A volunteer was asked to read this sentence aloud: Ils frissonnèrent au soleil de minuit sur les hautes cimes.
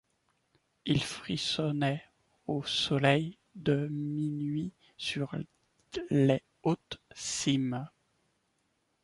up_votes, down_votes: 1, 2